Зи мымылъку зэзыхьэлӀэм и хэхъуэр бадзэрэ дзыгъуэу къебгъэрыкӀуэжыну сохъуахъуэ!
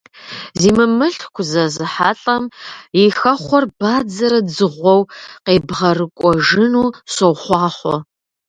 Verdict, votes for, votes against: accepted, 2, 0